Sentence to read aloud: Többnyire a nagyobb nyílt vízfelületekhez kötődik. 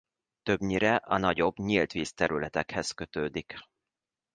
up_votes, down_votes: 2, 3